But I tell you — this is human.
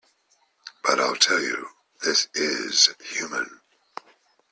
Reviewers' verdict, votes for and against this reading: rejected, 1, 2